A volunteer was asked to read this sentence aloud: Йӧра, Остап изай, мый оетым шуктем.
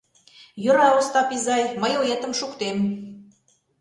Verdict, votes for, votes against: accepted, 2, 0